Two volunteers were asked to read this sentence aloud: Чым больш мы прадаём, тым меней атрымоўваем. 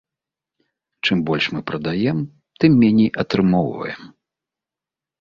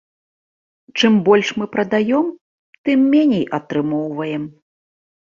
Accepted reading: second